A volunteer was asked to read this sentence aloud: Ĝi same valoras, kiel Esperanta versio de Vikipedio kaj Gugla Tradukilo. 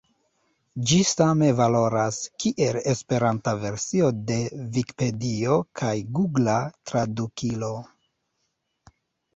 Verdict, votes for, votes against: rejected, 0, 2